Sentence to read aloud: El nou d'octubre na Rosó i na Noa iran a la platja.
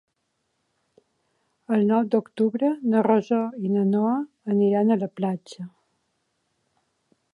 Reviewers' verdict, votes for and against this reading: rejected, 0, 2